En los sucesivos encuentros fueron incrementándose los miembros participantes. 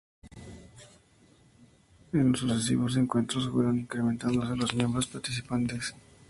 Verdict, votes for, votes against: rejected, 0, 2